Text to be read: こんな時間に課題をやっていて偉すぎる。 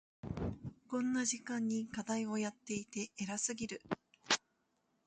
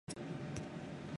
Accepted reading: first